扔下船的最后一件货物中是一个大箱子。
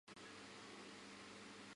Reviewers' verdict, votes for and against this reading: rejected, 0, 2